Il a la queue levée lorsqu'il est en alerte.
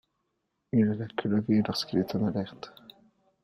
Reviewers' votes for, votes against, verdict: 2, 0, accepted